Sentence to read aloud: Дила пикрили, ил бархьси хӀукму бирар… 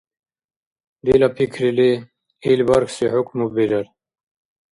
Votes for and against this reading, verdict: 2, 0, accepted